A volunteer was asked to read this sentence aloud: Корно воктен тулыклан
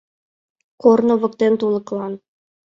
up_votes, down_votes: 2, 0